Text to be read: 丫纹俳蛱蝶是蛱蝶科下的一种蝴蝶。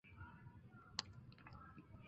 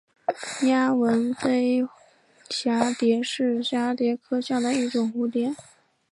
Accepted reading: second